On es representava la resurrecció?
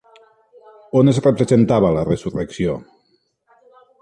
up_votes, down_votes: 0, 2